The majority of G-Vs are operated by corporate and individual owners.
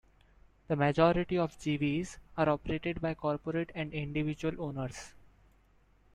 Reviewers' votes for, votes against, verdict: 0, 2, rejected